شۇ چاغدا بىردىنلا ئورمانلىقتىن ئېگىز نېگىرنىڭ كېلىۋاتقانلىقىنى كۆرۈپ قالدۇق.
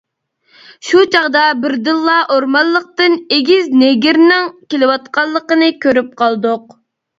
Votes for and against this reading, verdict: 2, 0, accepted